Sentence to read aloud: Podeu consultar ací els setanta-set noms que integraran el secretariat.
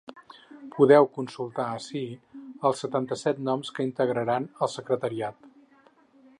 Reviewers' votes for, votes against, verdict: 6, 0, accepted